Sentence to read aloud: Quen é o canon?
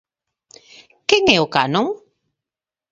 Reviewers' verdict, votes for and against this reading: accepted, 2, 0